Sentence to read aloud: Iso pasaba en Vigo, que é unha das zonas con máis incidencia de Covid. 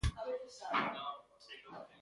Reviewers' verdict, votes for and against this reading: rejected, 0, 2